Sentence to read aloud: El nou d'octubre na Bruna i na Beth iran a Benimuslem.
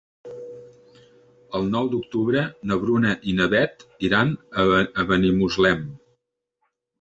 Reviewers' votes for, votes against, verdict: 0, 2, rejected